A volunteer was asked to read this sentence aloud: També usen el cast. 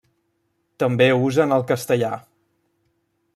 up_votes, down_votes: 0, 2